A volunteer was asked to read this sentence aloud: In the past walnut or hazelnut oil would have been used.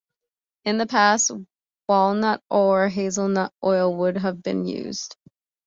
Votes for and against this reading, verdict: 2, 0, accepted